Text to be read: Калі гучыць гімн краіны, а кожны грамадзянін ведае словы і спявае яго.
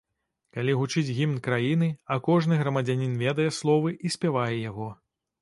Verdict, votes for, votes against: accepted, 2, 0